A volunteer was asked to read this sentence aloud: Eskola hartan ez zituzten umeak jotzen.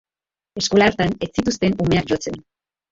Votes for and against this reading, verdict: 1, 2, rejected